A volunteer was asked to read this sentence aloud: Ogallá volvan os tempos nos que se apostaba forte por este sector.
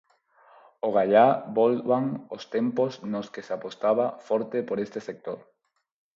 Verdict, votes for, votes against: accepted, 4, 0